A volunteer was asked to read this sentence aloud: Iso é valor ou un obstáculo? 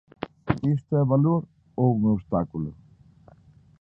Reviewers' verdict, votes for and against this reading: accepted, 2, 1